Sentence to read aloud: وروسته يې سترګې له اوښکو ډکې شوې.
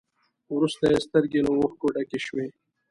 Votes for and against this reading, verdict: 2, 0, accepted